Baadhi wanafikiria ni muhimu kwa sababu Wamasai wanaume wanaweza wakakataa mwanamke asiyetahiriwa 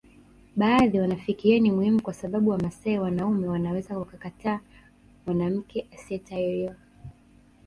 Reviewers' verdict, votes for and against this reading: rejected, 1, 2